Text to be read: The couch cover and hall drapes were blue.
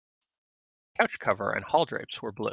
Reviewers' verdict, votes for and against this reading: rejected, 1, 2